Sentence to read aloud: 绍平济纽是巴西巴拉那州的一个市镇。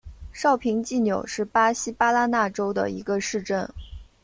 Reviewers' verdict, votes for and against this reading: accepted, 2, 0